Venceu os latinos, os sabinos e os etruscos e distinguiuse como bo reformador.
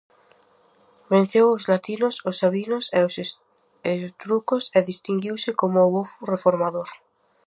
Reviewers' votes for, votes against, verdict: 0, 2, rejected